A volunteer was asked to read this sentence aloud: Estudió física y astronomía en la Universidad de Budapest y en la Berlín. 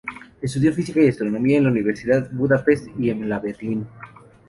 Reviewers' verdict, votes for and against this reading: accepted, 4, 0